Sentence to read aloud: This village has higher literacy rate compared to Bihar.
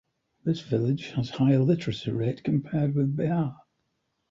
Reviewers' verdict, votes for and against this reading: rejected, 0, 2